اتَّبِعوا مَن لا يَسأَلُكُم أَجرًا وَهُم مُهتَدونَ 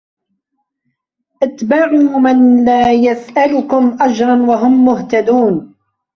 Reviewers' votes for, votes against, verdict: 0, 3, rejected